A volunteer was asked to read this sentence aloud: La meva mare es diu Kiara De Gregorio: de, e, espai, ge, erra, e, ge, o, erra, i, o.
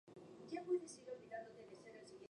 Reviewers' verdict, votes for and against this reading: rejected, 0, 2